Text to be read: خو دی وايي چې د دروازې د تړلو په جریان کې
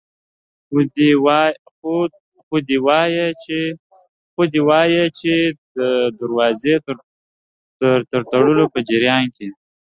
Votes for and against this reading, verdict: 1, 3, rejected